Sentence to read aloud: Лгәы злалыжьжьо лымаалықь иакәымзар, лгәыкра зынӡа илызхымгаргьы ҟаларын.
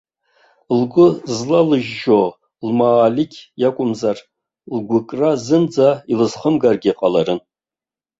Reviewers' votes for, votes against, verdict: 0, 2, rejected